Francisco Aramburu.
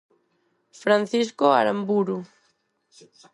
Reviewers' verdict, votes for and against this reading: accepted, 4, 0